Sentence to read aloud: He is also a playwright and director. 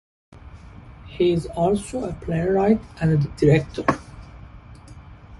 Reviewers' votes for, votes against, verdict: 2, 0, accepted